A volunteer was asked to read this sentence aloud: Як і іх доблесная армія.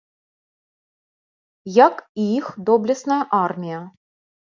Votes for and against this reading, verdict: 2, 0, accepted